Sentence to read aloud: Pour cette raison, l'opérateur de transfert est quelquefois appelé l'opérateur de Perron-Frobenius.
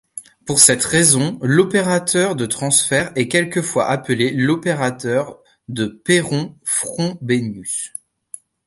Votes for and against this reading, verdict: 2, 1, accepted